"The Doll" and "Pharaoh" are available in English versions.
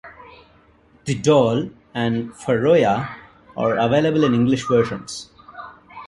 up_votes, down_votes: 1, 2